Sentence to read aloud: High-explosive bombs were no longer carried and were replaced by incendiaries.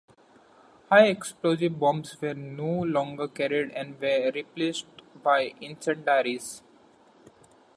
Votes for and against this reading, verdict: 2, 1, accepted